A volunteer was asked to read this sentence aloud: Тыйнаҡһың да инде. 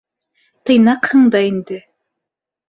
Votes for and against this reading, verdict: 2, 0, accepted